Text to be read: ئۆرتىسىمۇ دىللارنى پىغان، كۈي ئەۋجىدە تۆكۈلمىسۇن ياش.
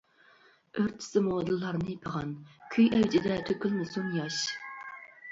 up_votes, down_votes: 2, 0